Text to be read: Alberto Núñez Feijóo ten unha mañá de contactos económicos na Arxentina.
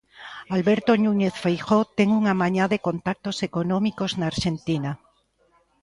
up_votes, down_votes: 2, 0